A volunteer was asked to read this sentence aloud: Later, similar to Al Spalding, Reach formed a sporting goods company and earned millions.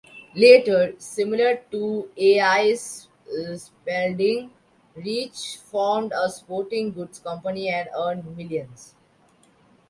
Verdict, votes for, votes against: rejected, 1, 2